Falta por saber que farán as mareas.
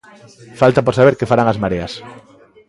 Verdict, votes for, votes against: accepted, 2, 0